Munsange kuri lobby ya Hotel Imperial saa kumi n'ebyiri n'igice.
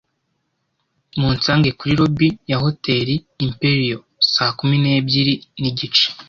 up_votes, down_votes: 2, 0